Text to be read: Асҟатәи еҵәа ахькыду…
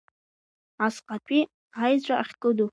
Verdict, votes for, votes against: accepted, 2, 1